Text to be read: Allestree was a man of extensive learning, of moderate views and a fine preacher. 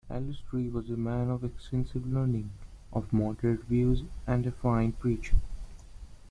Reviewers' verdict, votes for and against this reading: accepted, 2, 1